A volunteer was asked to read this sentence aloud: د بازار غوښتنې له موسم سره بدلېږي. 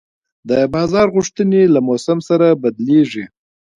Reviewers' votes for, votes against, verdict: 2, 1, accepted